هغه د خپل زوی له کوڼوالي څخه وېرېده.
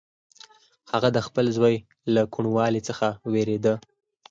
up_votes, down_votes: 4, 0